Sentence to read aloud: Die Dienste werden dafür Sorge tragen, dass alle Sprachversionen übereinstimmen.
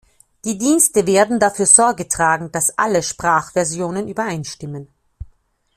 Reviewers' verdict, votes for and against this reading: accepted, 2, 0